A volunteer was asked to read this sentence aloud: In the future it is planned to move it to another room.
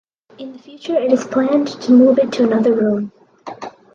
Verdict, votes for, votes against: accepted, 4, 0